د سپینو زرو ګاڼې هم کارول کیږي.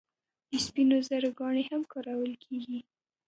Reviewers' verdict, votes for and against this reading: rejected, 1, 2